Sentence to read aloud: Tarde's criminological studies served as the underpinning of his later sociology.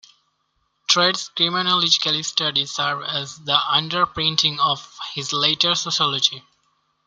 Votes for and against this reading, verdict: 0, 2, rejected